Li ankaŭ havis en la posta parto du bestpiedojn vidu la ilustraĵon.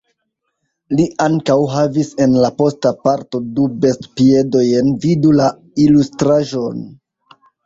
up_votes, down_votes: 3, 0